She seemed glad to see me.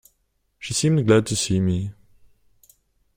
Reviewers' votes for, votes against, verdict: 2, 0, accepted